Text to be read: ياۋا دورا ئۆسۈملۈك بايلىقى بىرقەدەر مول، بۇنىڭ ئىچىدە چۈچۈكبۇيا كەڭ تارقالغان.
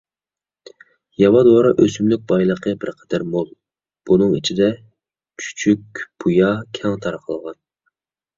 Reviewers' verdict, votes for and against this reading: accepted, 2, 0